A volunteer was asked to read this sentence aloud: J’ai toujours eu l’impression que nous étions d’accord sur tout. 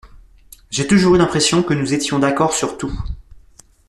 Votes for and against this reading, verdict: 2, 0, accepted